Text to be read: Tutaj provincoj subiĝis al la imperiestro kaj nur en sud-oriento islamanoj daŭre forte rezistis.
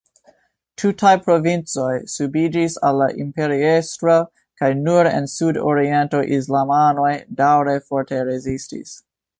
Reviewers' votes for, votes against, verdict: 2, 3, rejected